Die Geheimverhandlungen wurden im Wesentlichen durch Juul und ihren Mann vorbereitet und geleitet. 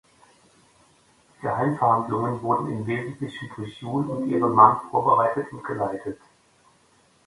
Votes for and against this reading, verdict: 2, 0, accepted